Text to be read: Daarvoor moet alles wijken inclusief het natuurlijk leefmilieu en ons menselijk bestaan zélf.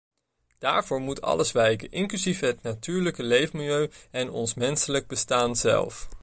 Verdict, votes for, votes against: rejected, 1, 2